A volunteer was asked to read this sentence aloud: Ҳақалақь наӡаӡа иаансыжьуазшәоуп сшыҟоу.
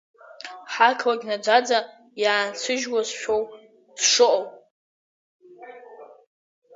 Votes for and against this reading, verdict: 0, 2, rejected